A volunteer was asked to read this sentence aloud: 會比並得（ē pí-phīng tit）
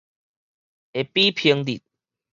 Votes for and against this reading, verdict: 4, 0, accepted